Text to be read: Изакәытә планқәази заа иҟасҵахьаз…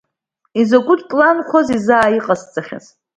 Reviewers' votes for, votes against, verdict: 2, 0, accepted